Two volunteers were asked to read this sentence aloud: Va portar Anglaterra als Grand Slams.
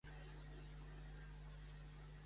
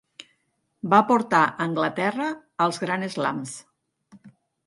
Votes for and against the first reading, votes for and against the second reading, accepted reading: 0, 2, 4, 0, second